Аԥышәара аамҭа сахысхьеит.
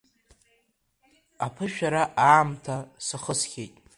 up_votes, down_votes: 2, 0